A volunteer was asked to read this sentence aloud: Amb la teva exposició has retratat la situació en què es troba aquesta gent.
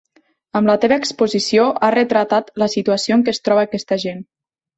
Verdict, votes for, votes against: rejected, 1, 2